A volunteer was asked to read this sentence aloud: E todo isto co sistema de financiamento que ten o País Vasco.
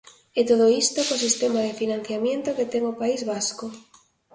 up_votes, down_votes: 0, 2